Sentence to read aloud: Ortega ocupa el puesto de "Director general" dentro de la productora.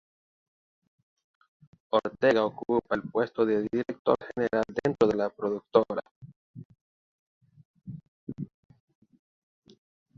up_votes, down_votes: 0, 2